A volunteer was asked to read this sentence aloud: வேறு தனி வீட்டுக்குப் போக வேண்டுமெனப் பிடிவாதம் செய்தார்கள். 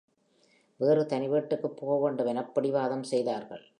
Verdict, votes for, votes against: accepted, 3, 0